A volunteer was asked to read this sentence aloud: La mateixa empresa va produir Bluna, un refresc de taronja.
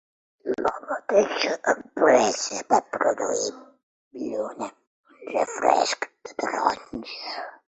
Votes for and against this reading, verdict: 2, 1, accepted